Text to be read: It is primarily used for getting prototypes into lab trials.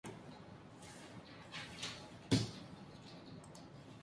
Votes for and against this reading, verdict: 0, 2, rejected